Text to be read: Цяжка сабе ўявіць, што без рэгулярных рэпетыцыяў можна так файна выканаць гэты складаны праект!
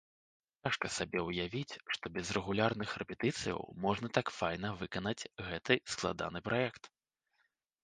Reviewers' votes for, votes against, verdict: 1, 2, rejected